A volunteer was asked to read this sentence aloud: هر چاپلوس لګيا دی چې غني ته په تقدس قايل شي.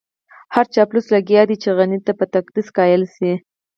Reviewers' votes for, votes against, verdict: 2, 4, rejected